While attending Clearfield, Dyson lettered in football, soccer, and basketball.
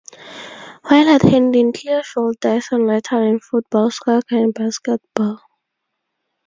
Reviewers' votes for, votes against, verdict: 0, 4, rejected